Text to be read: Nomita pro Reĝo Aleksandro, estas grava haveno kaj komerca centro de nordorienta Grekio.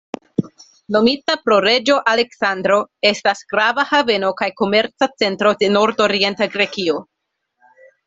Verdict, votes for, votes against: accepted, 2, 0